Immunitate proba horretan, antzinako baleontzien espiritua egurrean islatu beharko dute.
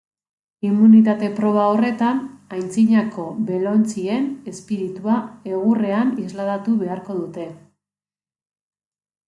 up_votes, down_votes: 0, 2